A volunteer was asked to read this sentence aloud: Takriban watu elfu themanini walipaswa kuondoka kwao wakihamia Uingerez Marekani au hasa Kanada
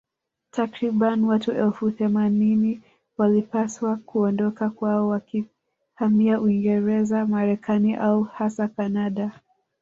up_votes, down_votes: 1, 2